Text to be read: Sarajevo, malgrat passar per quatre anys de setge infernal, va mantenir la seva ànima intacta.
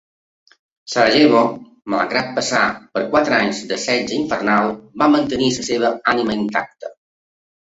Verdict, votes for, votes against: rejected, 1, 2